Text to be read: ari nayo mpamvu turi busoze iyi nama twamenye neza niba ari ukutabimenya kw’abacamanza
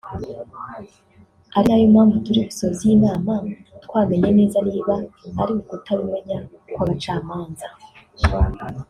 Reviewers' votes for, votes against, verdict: 2, 0, accepted